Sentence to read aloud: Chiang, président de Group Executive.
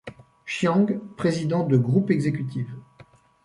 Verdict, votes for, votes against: accepted, 2, 0